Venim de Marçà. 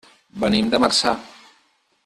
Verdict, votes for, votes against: accepted, 6, 0